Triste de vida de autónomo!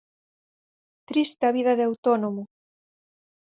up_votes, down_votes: 2, 4